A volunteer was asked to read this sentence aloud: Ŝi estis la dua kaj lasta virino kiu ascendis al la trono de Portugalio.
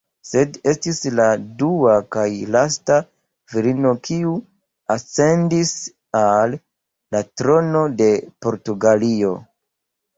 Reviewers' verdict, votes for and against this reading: rejected, 1, 2